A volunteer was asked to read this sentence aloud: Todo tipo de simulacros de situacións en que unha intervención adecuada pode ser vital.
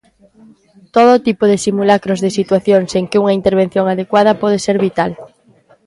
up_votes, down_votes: 2, 0